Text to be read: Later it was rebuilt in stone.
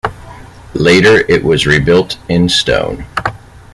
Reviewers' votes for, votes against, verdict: 2, 0, accepted